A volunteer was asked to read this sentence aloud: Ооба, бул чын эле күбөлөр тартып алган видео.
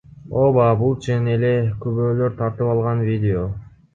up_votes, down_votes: 2, 0